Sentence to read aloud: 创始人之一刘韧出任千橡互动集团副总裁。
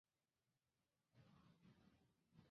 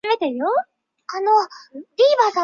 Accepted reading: first